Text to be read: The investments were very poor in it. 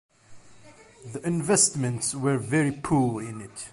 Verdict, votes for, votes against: accepted, 2, 0